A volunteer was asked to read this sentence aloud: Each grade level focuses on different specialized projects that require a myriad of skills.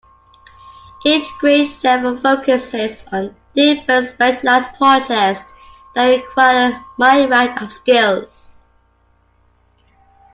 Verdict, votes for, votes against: accepted, 2, 1